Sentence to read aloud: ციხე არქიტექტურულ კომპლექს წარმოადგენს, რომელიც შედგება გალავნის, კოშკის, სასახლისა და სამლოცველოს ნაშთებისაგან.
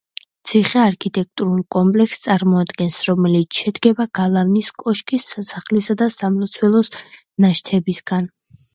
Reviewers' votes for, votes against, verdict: 1, 2, rejected